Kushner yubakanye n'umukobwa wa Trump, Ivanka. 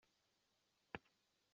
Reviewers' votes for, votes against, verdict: 1, 2, rejected